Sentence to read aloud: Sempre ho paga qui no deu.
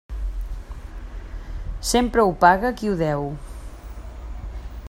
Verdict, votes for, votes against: rejected, 0, 2